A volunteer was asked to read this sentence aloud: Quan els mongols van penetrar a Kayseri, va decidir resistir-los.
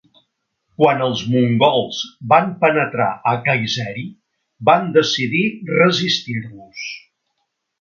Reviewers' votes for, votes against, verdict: 1, 2, rejected